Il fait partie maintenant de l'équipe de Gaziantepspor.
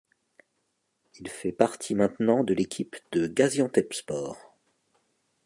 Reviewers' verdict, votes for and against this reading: accepted, 2, 0